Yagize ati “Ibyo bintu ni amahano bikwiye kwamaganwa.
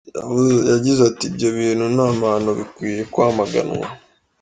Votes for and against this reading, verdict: 1, 2, rejected